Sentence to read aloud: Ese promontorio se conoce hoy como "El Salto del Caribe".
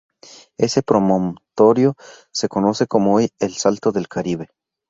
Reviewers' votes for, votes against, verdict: 2, 2, rejected